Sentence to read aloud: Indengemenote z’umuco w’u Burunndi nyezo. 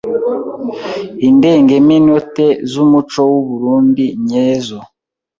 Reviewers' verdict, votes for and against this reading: rejected, 1, 2